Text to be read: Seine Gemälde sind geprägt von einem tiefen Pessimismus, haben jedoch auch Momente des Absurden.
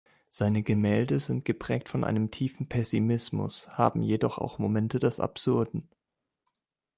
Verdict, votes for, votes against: accepted, 2, 0